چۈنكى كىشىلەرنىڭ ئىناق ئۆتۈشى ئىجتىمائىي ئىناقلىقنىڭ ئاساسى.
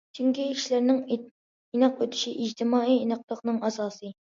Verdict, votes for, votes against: rejected, 0, 2